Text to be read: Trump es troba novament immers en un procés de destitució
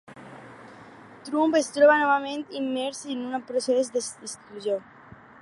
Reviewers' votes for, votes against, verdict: 0, 4, rejected